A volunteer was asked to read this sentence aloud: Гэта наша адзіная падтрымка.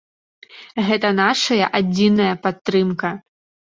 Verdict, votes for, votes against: rejected, 0, 2